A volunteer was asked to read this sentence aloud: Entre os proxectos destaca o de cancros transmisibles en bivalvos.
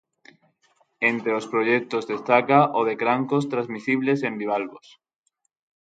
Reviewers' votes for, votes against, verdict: 0, 3, rejected